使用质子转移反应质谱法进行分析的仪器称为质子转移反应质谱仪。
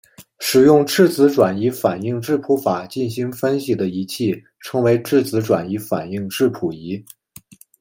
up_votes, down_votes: 2, 0